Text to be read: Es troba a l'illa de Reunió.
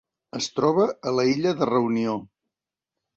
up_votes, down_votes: 0, 2